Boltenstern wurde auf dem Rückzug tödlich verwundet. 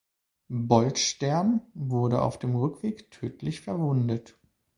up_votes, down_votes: 0, 2